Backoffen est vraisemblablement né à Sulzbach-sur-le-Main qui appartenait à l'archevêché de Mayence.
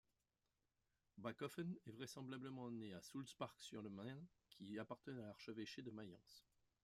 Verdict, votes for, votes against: rejected, 0, 2